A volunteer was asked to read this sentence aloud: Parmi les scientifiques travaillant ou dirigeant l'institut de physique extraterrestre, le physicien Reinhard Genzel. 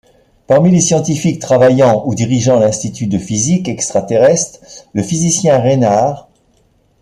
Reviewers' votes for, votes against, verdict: 0, 2, rejected